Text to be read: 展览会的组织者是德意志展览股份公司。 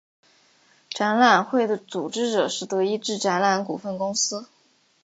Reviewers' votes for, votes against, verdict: 2, 0, accepted